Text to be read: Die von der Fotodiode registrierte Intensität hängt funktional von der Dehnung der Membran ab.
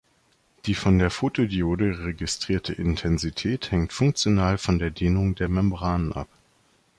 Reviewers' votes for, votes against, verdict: 2, 0, accepted